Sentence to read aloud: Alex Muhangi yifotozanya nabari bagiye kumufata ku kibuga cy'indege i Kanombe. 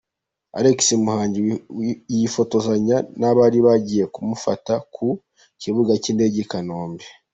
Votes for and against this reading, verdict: 0, 2, rejected